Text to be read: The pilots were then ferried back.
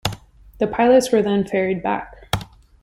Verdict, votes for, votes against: accepted, 2, 0